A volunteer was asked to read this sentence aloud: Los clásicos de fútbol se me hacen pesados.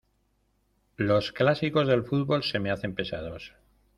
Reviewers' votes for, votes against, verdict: 2, 1, accepted